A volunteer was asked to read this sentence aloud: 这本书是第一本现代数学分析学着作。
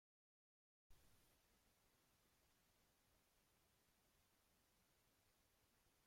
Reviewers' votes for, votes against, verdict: 0, 2, rejected